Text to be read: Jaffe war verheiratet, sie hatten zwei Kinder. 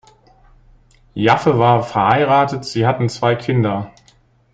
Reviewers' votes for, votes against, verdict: 2, 0, accepted